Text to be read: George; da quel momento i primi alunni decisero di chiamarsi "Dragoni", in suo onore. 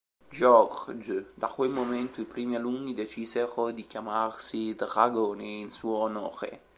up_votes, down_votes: 1, 2